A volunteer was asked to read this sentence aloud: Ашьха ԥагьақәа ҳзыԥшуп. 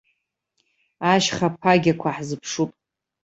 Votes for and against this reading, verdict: 2, 0, accepted